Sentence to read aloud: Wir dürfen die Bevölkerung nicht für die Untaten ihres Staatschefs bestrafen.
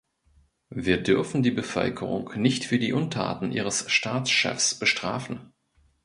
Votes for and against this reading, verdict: 1, 2, rejected